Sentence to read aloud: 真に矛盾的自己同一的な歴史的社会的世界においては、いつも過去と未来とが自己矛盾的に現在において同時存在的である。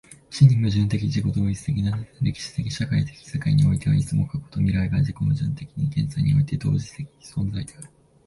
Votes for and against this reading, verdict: 1, 2, rejected